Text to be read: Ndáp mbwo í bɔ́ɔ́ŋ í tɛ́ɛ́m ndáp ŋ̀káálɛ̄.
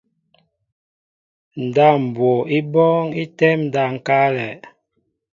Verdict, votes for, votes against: accepted, 2, 0